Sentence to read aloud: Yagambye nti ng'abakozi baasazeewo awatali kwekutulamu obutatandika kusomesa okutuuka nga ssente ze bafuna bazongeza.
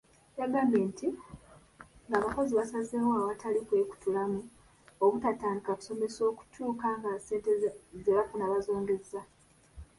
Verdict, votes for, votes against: rejected, 1, 2